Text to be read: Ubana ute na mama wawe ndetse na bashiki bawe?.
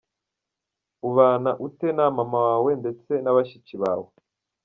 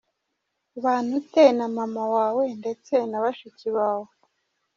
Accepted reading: second